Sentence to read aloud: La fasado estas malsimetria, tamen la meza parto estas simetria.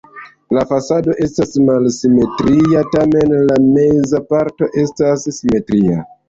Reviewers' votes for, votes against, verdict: 2, 0, accepted